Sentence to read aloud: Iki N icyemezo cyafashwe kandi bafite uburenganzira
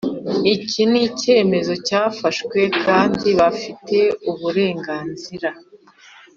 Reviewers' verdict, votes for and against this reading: accepted, 2, 0